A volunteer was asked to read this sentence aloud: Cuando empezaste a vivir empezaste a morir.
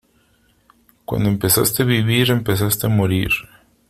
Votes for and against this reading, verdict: 2, 0, accepted